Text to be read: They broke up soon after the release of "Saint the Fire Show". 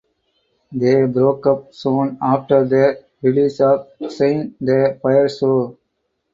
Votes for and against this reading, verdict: 4, 0, accepted